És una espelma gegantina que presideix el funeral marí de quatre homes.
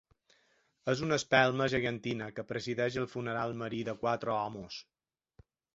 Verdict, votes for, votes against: accepted, 3, 1